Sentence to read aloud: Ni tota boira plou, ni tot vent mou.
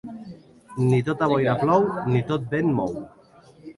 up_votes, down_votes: 2, 0